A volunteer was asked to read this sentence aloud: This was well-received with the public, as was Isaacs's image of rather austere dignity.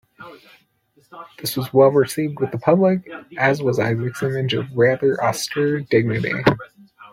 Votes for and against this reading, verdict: 2, 0, accepted